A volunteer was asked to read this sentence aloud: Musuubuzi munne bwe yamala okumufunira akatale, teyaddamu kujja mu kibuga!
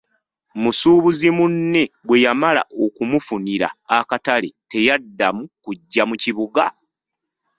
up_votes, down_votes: 1, 2